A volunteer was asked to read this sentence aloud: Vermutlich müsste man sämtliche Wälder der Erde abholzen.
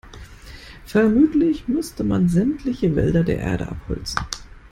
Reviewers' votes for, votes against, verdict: 2, 0, accepted